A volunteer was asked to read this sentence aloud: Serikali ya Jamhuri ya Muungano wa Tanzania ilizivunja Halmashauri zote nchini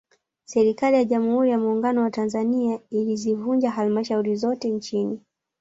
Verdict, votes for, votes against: rejected, 1, 2